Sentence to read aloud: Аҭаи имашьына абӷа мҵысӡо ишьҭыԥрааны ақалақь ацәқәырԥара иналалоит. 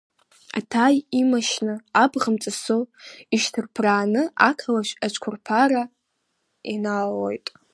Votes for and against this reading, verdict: 2, 0, accepted